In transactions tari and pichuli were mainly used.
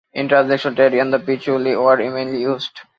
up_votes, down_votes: 2, 0